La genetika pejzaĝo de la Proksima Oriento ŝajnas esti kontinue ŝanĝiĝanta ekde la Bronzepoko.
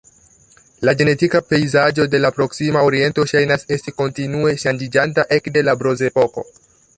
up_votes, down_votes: 2, 0